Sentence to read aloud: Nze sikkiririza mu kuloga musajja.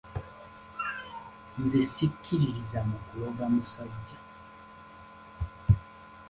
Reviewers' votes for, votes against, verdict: 3, 0, accepted